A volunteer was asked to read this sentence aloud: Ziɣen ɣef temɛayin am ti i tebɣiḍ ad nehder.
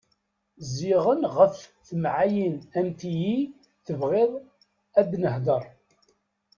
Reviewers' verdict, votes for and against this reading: rejected, 1, 2